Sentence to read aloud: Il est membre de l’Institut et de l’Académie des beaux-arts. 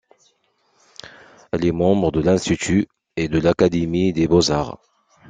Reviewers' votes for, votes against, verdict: 2, 0, accepted